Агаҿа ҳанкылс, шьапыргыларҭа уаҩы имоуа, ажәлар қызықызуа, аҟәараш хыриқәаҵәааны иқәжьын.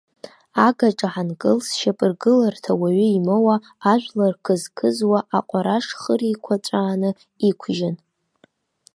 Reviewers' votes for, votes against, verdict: 1, 2, rejected